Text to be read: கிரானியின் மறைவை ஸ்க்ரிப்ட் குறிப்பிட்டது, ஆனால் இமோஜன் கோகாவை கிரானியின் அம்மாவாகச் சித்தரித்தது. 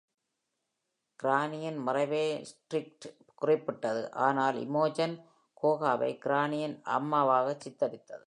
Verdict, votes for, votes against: accepted, 2, 0